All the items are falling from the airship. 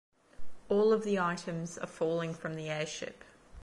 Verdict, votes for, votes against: rejected, 0, 2